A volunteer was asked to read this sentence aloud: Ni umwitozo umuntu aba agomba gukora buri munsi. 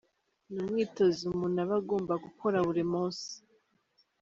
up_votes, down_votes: 2, 0